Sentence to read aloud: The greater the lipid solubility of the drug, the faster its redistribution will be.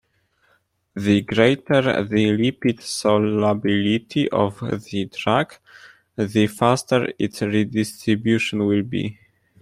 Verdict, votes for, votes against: accepted, 2, 0